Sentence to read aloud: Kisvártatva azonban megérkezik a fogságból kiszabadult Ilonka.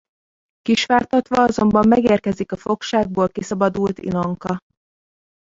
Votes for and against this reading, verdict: 1, 3, rejected